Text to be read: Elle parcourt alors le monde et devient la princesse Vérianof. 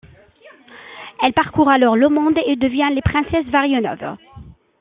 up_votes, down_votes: 2, 1